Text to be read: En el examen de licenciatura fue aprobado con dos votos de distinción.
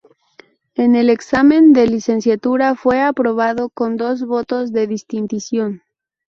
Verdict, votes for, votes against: rejected, 0, 2